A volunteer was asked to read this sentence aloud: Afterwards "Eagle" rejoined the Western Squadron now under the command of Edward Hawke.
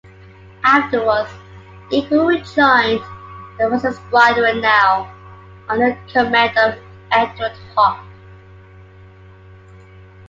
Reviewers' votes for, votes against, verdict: 2, 1, accepted